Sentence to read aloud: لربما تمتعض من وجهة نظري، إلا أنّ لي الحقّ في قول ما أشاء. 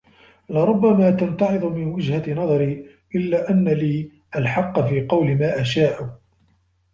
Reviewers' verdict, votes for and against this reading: rejected, 1, 2